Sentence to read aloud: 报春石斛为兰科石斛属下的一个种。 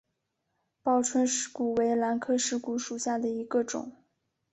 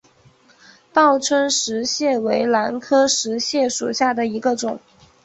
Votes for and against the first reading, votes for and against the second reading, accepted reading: 2, 1, 0, 2, first